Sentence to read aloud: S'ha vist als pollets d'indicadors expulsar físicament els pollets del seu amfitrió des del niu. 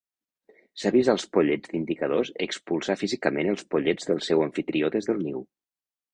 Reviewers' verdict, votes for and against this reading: accepted, 2, 0